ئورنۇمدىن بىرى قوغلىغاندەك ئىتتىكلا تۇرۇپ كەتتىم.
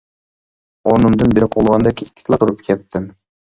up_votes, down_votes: 1, 2